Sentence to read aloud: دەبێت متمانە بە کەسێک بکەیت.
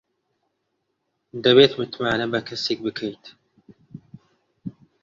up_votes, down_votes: 2, 0